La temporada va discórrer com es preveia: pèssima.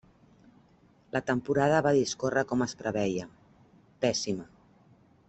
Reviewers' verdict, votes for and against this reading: accepted, 3, 0